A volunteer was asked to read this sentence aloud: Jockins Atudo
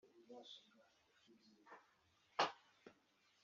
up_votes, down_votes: 1, 2